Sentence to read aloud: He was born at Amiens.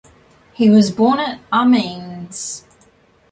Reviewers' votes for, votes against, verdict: 1, 2, rejected